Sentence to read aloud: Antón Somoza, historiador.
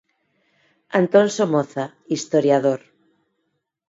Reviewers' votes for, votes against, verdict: 4, 0, accepted